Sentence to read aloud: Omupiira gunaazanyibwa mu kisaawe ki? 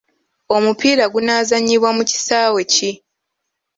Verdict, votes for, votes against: accepted, 3, 0